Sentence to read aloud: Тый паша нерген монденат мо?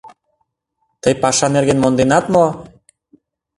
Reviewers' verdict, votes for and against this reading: accepted, 2, 0